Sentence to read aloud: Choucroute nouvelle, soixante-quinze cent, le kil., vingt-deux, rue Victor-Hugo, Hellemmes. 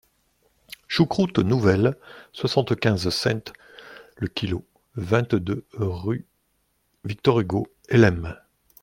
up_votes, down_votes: 1, 2